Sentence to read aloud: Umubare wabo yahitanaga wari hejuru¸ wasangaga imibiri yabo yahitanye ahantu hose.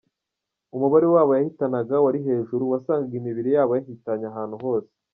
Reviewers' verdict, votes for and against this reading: rejected, 1, 2